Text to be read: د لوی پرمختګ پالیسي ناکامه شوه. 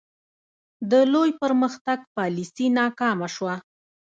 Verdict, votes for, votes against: rejected, 0, 2